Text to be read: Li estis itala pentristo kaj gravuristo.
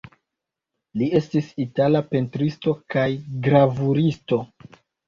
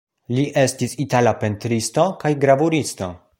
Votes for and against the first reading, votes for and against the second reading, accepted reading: 1, 2, 2, 0, second